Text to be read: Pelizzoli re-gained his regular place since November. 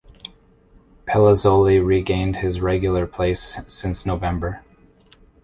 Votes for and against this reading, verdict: 2, 0, accepted